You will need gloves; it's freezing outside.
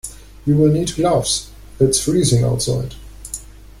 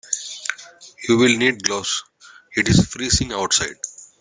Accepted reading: first